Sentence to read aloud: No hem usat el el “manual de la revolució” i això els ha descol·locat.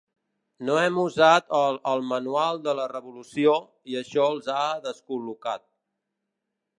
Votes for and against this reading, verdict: 2, 0, accepted